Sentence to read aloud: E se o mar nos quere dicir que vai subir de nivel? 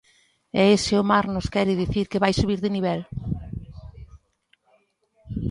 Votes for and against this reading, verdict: 1, 2, rejected